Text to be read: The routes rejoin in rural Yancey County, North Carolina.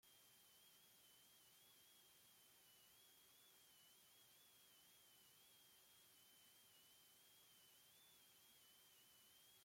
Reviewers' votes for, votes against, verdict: 0, 2, rejected